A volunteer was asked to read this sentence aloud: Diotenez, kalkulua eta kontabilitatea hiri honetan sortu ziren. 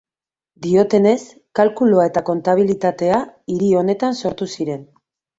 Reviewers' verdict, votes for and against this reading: accepted, 2, 1